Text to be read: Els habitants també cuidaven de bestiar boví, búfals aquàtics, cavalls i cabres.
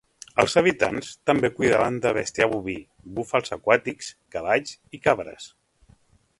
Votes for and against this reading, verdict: 2, 0, accepted